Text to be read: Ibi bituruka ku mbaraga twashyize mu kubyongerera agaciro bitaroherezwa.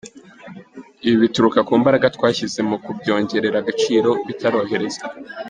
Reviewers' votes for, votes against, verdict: 2, 1, accepted